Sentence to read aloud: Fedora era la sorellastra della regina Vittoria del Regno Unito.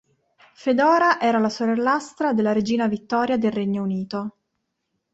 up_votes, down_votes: 2, 0